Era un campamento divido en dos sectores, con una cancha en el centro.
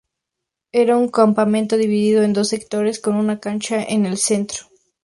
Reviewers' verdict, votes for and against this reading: accepted, 2, 0